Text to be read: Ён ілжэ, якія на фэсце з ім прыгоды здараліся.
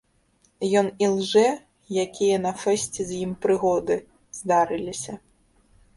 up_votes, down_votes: 0, 2